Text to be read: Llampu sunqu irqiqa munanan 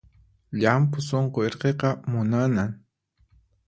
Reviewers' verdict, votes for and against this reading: accepted, 4, 0